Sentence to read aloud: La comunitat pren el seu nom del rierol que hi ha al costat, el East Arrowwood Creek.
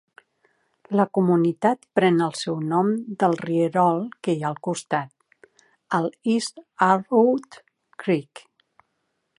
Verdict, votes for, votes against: rejected, 1, 2